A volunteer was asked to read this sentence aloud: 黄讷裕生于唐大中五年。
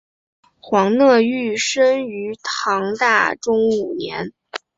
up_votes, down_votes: 2, 0